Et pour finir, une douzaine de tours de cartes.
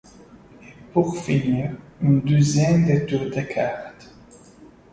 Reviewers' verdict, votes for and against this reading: rejected, 0, 2